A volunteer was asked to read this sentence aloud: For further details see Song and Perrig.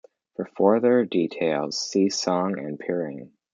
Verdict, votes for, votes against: accepted, 2, 0